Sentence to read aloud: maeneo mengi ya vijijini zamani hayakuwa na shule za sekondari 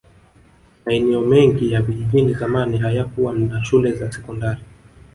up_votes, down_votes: 1, 2